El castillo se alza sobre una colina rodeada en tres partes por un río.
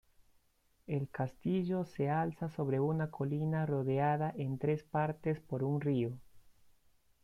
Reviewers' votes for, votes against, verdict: 2, 0, accepted